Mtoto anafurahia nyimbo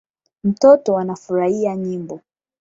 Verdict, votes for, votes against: accepted, 8, 4